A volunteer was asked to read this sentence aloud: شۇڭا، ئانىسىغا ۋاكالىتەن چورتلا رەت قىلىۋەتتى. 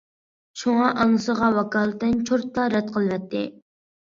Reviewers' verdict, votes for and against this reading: accepted, 2, 0